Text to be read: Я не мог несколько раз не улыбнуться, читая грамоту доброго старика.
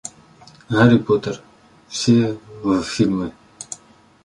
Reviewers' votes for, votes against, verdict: 0, 2, rejected